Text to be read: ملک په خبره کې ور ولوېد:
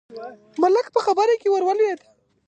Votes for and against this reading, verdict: 2, 0, accepted